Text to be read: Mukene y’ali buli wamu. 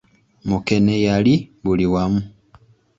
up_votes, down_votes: 0, 2